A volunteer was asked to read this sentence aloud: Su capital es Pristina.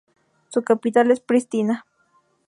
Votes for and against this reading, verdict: 2, 0, accepted